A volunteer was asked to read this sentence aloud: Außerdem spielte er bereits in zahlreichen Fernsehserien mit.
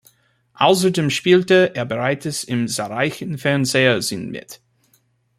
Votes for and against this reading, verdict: 0, 2, rejected